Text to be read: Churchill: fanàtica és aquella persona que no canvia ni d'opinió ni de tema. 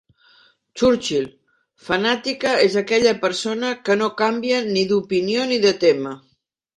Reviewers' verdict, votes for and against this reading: accepted, 3, 0